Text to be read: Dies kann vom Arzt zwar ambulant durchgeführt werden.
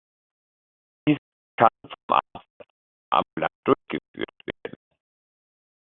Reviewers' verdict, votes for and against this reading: rejected, 0, 2